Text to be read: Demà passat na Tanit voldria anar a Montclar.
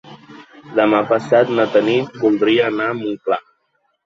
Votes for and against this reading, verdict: 2, 0, accepted